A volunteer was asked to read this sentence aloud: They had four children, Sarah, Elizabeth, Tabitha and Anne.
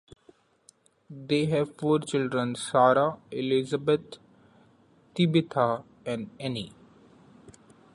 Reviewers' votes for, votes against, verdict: 1, 2, rejected